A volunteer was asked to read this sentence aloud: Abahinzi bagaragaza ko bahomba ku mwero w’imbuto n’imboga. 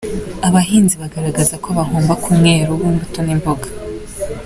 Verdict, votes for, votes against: rejected, 1, 2